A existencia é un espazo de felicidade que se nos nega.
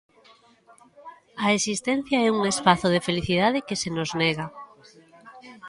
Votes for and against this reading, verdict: 1, 2, rejected